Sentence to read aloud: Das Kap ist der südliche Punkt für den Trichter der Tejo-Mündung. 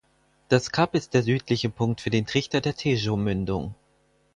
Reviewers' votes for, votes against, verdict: 6, 0, accepted